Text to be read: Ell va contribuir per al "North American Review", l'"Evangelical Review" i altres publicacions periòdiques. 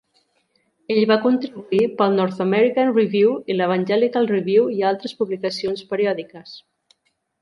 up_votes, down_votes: 2, 0